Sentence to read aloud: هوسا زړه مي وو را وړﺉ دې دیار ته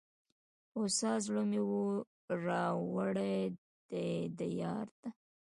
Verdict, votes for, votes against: rejected, 0, 2